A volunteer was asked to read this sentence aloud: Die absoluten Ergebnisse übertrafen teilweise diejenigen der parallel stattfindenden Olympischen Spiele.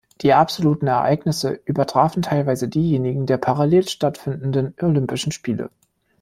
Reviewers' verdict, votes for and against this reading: rejected, 0, 2